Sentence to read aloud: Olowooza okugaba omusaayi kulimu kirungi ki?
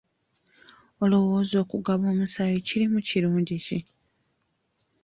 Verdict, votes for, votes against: accepted, 2, 0